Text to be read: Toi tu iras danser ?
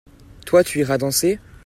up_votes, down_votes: 2, 0